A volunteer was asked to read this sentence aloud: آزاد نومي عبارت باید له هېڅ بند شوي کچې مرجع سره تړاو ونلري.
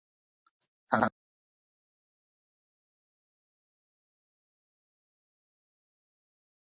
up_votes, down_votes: 0, 2